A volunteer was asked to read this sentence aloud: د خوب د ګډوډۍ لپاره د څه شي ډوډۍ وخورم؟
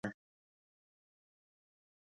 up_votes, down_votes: 4, 6